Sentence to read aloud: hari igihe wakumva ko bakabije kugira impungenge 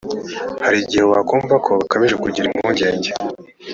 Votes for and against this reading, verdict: 2, 0, accepted